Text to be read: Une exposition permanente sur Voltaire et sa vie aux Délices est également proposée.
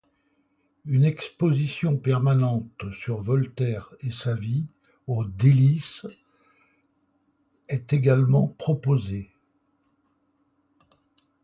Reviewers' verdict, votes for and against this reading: accepted, 2, 0